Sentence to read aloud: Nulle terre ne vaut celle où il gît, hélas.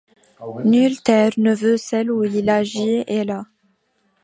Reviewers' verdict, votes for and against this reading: rejected, 0, 2